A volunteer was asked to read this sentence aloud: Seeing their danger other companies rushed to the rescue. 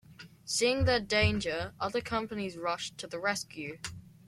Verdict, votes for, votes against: accepted, 2, 0